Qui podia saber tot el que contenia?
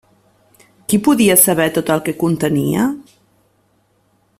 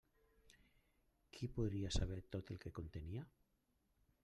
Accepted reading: first